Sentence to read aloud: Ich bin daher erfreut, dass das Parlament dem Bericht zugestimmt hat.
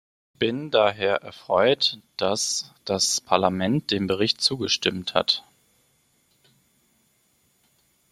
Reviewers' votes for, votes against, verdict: 2, 1, accepted